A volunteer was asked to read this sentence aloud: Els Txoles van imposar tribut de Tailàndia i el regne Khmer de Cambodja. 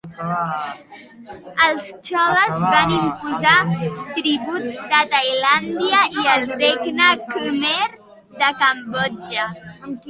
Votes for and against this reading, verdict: 2, 1, accepted